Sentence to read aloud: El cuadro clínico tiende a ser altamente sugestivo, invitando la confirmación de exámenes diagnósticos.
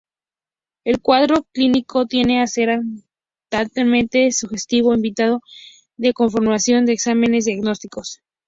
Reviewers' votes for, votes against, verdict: 0, 2, rejected